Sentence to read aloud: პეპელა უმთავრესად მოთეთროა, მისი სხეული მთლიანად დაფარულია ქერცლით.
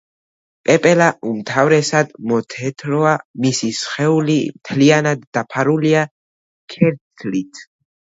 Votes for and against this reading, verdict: 2, 0, accepted